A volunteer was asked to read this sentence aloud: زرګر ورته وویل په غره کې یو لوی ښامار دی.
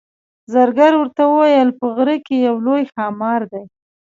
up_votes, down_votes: 2, 0